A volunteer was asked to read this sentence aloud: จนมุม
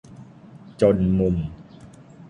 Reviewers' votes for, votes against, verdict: 2, 0, accepted